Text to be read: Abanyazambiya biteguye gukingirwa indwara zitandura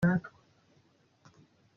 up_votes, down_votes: 0, 2